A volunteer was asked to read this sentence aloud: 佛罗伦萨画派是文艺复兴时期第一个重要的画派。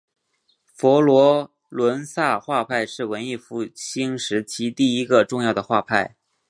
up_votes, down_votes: 3, 0